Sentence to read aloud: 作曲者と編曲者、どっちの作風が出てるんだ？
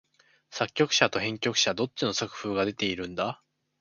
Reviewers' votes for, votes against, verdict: 4, 0, accepted